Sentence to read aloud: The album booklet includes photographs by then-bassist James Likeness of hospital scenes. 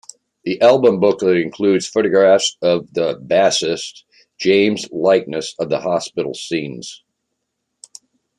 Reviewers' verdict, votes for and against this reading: rejected, 0, 2